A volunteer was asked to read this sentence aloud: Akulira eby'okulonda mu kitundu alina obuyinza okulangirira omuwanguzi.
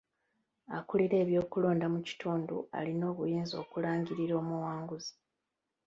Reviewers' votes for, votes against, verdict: 1, 2, rejected